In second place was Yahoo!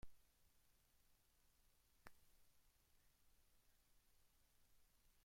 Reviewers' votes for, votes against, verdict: 0, 2, rejected